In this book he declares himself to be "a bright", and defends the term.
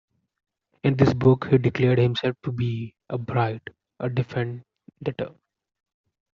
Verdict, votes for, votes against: rejected, 0, 2